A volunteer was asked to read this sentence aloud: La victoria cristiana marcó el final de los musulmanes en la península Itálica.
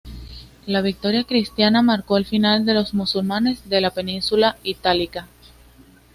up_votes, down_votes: 1, 2